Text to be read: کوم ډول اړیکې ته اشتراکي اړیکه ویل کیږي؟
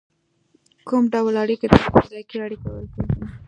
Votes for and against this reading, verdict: 2, 0, accepted